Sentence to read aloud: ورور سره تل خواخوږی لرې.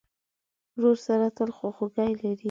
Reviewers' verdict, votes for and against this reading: accepted, 2, 0